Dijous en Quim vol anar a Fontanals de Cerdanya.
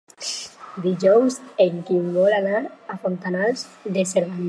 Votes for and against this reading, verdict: 2, 0, accepted